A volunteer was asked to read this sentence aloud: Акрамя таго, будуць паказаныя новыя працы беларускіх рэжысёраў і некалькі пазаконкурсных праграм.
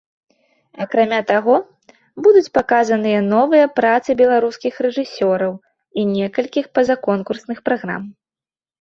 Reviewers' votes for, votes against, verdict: 0, 2, rejected